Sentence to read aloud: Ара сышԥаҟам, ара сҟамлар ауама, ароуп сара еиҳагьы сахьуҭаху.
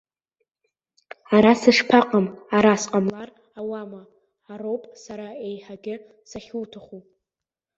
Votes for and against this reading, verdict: 2, 0, accepted